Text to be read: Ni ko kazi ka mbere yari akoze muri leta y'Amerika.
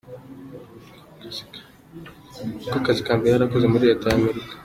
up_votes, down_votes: 4, 0